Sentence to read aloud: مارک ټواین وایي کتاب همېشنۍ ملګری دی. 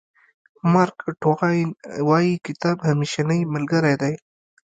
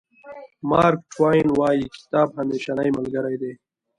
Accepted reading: second